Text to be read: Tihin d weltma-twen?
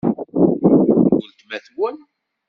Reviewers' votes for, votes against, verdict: 1, 2, rejected